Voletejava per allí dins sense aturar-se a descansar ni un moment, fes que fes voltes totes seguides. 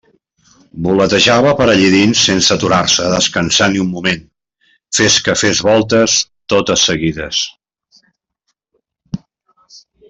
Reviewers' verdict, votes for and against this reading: accepted, 2, 0